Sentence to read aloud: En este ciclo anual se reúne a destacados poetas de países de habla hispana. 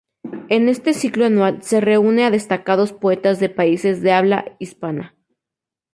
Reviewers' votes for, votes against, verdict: 4, 0, accepted